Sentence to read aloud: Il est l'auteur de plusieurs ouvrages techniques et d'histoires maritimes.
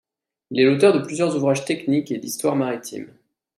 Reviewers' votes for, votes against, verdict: 0, 2, rejected